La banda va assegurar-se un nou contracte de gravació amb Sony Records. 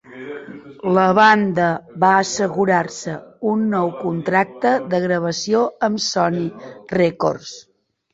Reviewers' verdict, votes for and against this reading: rejected, 0, 2